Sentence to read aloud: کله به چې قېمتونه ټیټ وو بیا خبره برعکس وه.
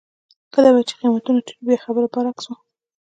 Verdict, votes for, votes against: accepted, 2, 0